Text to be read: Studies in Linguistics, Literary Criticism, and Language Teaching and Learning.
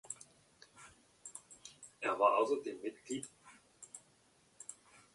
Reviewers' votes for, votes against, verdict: 0, 2, rejected